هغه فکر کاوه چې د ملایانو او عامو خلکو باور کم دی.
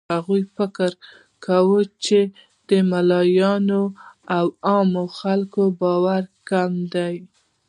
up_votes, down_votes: 2, 0